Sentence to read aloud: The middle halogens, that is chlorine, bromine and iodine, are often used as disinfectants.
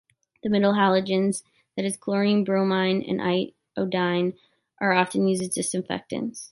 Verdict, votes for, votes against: rejected, 1, 2